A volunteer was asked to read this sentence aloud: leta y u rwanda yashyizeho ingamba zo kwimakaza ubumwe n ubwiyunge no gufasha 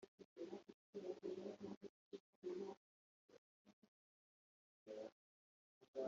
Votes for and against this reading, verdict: 1, 3, rejected